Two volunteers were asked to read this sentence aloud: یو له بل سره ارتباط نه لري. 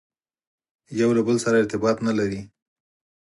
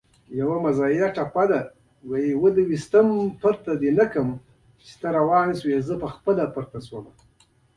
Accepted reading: first